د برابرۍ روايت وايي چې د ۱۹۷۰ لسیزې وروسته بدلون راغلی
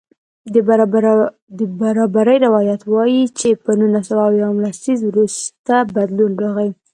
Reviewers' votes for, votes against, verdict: 0, 2, rejected